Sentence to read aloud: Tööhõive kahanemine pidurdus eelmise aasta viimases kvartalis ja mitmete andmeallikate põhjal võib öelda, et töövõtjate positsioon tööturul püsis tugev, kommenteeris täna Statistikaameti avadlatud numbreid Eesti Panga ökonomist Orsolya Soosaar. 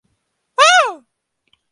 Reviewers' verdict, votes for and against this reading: rejected, 0, 2